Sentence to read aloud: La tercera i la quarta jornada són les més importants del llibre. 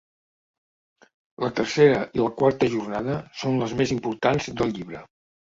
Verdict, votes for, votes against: accepted, 2, 0